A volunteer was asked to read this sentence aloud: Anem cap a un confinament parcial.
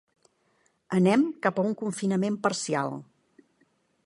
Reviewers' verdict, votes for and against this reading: accepted, 3, 0